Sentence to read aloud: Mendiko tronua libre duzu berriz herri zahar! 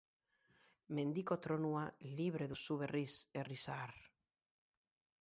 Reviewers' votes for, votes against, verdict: 4, 2, accepted